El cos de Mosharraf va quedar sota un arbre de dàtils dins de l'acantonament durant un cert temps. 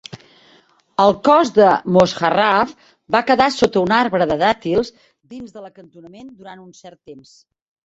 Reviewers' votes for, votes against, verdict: 0, 2, rejected